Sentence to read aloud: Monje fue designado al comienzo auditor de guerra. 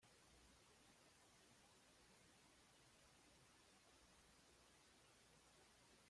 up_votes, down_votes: 1, 2